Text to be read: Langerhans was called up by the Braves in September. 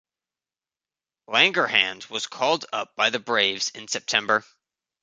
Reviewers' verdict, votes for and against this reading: rejected, 1, 2